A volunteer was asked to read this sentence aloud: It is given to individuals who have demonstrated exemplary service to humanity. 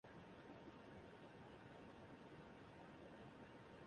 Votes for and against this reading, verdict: 0, 2, rejected